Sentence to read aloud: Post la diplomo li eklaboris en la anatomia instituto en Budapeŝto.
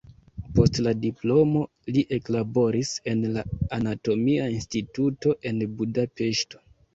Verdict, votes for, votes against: accepted, 2, 0